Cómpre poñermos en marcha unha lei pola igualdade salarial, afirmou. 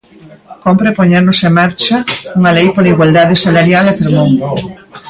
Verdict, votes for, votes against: rejected, 1, 2